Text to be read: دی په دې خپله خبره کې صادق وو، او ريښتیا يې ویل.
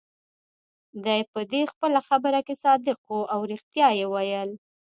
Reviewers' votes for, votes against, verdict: 1, 2, rejected